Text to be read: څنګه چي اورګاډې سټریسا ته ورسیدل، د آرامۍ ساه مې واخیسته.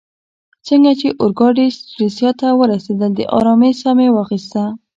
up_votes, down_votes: 1, 2